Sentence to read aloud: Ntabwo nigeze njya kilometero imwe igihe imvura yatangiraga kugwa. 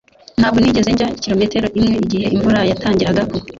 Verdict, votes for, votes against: rejected, 1, 2